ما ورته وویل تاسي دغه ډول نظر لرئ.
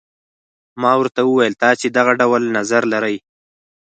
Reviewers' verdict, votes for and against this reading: accepted, 4, 0